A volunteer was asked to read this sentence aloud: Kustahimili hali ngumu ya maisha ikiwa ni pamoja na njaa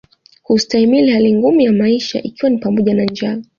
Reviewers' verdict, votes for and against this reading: accepted, 2, 0